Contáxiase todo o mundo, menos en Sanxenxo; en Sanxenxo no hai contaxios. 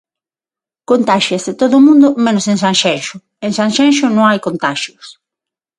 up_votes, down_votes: 6, 0